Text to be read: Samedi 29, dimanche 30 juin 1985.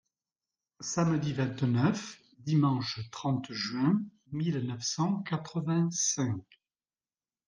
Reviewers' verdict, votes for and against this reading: rejected, 0, 2